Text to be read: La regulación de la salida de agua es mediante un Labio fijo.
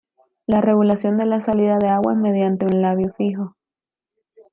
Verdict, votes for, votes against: accepted, 2, 1